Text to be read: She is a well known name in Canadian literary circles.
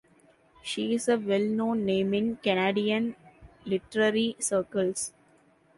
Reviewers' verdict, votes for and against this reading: accepted, 2, 0